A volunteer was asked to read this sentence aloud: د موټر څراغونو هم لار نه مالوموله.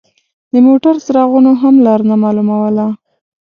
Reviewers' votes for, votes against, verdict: 2, 0, accepted